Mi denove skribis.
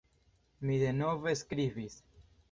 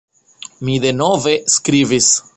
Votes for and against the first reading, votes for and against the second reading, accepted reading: 2, 0, 1, 2, first